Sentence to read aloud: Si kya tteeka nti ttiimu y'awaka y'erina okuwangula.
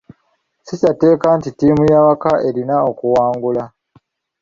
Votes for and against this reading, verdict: 0, 2, rejected